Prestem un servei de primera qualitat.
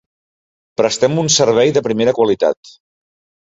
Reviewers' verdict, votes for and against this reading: accepted, 3, 0